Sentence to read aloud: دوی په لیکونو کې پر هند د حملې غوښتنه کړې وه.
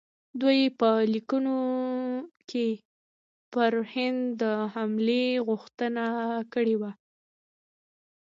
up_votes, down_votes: 2, 0